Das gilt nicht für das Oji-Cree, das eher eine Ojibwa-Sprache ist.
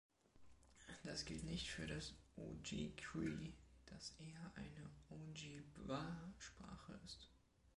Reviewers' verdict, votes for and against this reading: accepted, 2, 1